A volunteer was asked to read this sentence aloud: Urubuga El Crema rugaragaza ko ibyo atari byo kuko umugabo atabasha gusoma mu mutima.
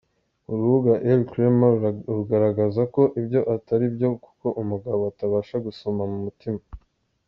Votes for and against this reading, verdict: 1, 2, rejected